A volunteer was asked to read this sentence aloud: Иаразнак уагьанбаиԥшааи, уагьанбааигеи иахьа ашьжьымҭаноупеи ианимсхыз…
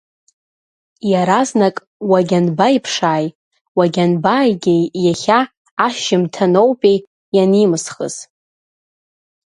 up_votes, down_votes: 1, 2